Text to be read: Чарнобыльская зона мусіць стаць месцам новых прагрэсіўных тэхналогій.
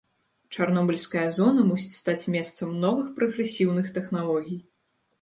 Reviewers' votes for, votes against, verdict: 2, 0, accepted